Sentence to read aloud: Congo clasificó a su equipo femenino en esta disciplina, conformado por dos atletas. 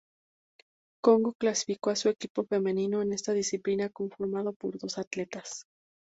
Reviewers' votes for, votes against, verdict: 2, 0, accepted